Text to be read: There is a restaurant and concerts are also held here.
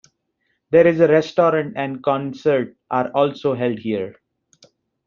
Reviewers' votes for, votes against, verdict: 1, 2, rejected